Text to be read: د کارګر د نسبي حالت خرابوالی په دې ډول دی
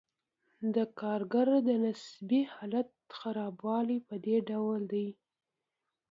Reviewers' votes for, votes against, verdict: 2, 0, accepted